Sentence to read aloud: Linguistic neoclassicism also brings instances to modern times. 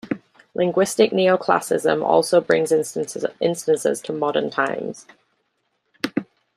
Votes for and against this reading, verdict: 1, 2, rejected